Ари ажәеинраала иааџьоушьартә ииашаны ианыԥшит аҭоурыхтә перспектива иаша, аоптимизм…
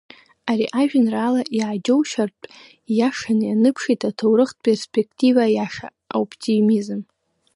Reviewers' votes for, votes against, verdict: 2, 1, accepted